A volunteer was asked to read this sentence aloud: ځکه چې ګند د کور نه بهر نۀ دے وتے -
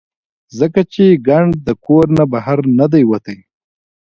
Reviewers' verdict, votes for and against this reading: rejected, 1, 2